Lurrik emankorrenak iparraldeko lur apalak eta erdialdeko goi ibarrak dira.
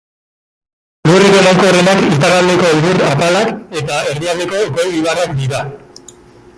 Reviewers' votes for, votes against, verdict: 1, 2, rejected